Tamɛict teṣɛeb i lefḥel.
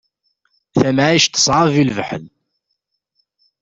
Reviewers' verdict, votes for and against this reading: accepted, 2, 0